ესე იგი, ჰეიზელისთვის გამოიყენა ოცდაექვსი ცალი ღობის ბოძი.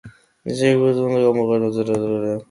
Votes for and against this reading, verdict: 0, 2, rejected